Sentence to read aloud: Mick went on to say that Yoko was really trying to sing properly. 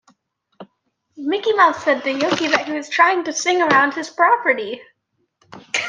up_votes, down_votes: 0, 2